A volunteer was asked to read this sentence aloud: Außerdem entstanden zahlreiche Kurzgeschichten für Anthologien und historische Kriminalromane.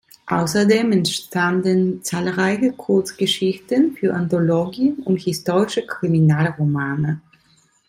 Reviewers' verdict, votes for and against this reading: accepted, 2, 0